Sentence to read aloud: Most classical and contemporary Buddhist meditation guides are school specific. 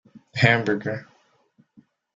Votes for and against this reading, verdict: 0, 2, rejected